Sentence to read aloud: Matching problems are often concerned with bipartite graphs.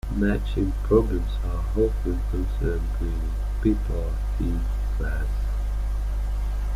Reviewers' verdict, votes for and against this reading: rejected, 0, 2